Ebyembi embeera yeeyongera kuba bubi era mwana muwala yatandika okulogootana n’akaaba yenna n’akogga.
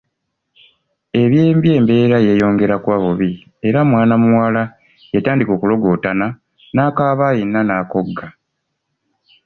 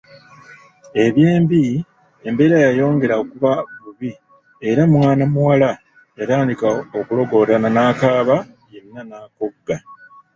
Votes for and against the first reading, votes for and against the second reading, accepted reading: 2, 0, 0, 2, first